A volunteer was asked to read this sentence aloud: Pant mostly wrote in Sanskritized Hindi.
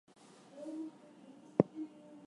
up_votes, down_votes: 2, 0